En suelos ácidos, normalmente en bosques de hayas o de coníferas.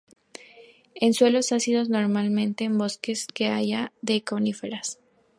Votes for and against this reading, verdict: 0, 2, rejected